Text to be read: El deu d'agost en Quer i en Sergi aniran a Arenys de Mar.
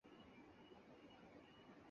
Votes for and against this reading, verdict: 2, 4, rejected